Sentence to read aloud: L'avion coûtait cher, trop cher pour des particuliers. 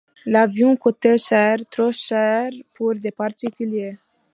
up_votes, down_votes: 2, 0